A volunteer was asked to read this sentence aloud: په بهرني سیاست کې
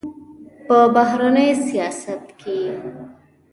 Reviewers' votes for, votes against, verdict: 0, 2, rejected